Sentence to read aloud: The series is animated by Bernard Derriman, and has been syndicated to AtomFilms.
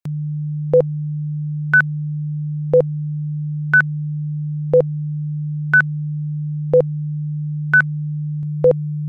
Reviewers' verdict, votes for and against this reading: rejected, 0, 2